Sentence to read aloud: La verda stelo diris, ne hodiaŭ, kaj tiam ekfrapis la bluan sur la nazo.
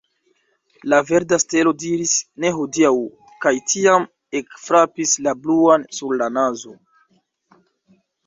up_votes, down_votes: 2, 0